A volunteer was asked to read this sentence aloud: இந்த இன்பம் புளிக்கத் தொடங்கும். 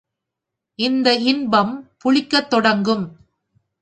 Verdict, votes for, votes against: accepted, 2, 0